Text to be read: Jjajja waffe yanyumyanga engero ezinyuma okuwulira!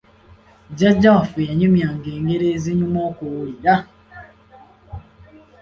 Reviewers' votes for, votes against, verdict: 2, 0, accepted